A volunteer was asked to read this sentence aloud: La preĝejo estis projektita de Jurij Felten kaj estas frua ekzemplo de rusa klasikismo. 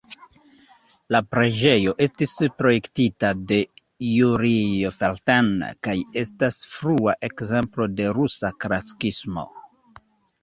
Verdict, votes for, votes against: rejected, 0, 2